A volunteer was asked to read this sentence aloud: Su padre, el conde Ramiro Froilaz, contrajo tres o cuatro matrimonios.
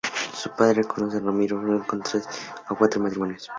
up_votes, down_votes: 0, 2